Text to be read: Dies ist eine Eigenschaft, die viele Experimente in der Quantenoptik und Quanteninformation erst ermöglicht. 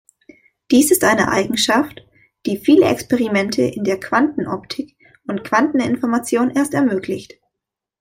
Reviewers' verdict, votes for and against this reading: accepted, 2, 0